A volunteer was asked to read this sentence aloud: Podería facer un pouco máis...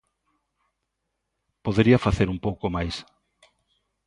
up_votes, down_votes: 2, 0